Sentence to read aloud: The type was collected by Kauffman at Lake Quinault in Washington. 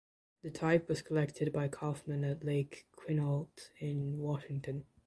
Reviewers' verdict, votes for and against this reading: rejected, 1, 2